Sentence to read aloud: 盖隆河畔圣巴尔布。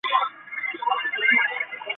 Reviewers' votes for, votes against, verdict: 0, 3, rejected